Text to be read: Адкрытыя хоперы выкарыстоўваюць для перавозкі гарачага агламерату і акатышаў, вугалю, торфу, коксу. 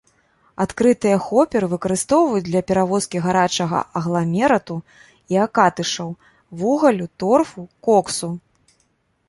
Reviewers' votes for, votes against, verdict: 1, 2, rejected